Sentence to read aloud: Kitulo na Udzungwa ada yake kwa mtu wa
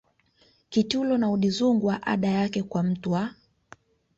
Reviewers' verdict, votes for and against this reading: accepted, 2, 0